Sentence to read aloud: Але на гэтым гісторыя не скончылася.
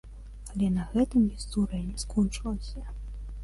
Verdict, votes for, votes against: accepted, 2, 1